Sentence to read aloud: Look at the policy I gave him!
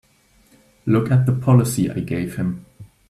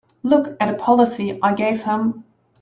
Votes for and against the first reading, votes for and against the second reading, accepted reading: 2, 0, 4, 5, first